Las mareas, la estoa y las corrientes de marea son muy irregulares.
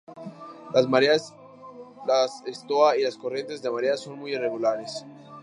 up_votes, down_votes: 0, 2